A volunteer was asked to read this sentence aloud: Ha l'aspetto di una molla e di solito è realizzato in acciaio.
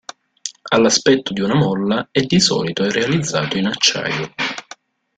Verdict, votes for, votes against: accepted, 2, 1